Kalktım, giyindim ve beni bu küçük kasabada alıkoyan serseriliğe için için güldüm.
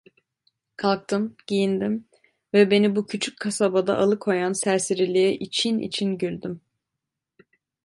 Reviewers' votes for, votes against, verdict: 2, 0, accepted